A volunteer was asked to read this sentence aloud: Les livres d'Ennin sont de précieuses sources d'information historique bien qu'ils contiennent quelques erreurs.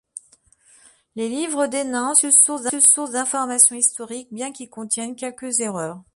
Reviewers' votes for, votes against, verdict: 1, 2, rejected